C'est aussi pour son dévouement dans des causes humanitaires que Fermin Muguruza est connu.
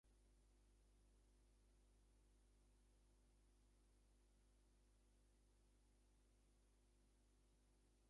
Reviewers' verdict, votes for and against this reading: rejected, 0, 2